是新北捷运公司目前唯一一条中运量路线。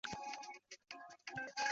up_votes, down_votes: 0, 5